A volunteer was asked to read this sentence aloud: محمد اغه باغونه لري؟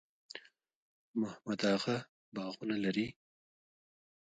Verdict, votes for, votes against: rejected, 1, 2